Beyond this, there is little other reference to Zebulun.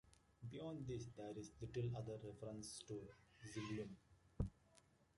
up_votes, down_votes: 2, 1